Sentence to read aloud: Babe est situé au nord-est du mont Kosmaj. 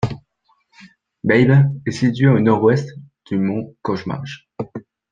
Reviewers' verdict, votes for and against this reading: rejected, 1, 2